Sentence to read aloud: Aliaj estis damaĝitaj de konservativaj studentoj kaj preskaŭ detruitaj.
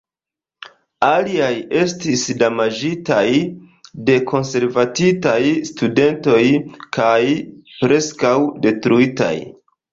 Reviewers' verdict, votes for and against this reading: rejected, 1, 2